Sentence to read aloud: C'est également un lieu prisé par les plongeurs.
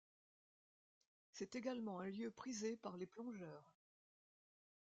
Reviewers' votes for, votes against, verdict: 1, 2, rejected